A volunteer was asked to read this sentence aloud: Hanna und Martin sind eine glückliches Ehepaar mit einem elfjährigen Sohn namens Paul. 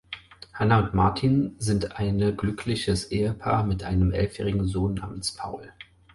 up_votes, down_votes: 4, 0